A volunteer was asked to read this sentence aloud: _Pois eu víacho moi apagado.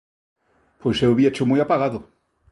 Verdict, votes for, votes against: accepted, 2, 0